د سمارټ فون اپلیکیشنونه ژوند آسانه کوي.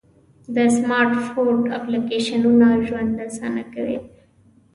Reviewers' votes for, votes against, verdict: 2, 0, accepted